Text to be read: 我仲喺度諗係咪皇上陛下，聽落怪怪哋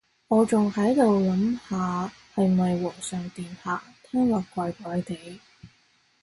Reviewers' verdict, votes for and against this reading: rejected, 0, 2